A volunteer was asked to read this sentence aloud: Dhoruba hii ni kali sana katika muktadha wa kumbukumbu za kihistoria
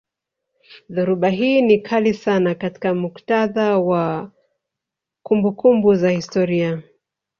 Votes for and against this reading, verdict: 1, 3, rejected